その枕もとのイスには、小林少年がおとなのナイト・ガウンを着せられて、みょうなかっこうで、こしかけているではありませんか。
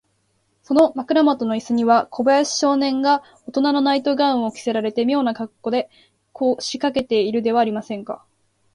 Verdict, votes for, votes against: accepted, 2, 0